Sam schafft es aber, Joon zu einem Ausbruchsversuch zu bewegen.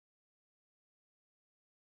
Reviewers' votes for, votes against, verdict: 0, 2, rejected